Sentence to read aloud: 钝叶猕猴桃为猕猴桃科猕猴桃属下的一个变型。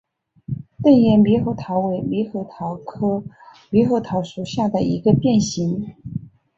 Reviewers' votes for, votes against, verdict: 2, 1, accepted